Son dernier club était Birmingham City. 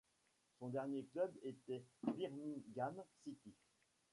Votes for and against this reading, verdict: 1, 2, rejected